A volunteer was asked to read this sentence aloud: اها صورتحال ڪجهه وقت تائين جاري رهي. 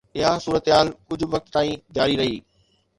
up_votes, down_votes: 2, 0